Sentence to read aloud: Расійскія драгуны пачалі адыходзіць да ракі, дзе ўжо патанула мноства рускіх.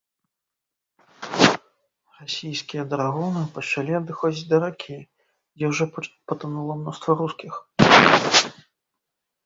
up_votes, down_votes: 0, 3